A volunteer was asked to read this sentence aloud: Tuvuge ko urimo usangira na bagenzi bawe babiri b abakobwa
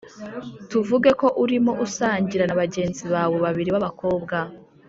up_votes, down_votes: 2, 0